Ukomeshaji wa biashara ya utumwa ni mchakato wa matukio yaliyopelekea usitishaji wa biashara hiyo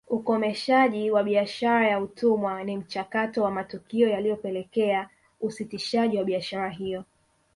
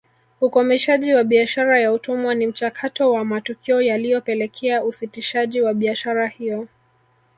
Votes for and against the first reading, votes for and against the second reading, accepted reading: 2, 1, 1, 2, first